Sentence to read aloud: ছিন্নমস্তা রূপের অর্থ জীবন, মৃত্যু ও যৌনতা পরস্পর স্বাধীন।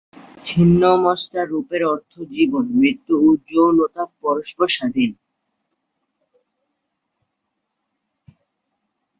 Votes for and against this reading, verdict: 1, 2, rejected